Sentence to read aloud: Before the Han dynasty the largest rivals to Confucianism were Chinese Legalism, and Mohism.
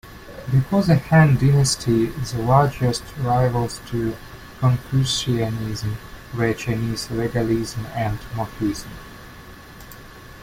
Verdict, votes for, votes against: rejected, 1, 2